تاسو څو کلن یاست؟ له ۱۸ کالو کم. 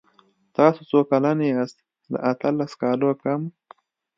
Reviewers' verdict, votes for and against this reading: rejected, 0, 2